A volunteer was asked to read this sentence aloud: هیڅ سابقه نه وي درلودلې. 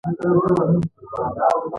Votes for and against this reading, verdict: 0, 2, rejected